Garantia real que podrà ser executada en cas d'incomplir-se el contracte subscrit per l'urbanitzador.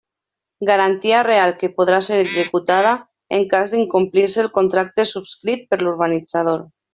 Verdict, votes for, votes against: accepted, 3, 0